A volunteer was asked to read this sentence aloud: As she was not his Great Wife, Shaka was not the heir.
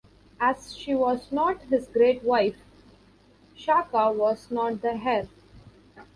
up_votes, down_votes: 0, 2